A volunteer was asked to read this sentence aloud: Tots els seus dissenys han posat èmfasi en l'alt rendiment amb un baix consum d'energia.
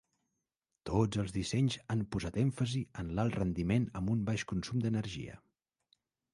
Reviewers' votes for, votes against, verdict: 1, 2, rejected